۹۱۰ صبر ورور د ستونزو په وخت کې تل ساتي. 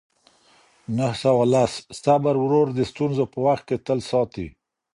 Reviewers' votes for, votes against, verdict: 0, 2, rejected